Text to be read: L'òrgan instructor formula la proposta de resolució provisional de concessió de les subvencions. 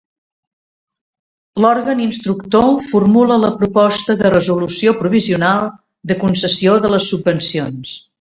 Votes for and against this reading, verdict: 2, 0, accepted